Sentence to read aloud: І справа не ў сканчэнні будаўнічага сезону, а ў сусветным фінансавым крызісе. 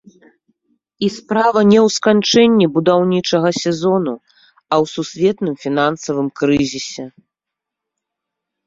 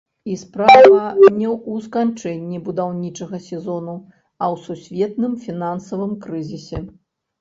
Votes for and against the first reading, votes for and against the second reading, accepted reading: 2, 0, 0, 2, first